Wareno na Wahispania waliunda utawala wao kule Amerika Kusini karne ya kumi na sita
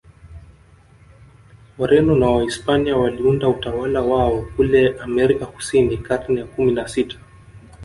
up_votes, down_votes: 2, 0